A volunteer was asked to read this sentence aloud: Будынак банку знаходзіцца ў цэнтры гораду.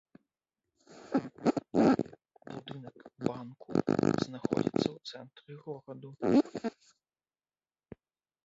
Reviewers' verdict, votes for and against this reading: rejected, 0, 2